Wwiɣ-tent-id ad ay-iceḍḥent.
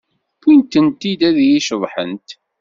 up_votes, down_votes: 2, 0